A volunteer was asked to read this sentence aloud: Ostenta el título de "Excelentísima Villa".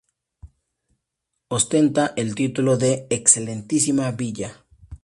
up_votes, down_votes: 2, 0